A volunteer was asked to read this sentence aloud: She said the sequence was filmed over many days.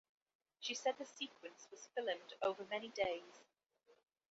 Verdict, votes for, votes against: accepted, 2, 1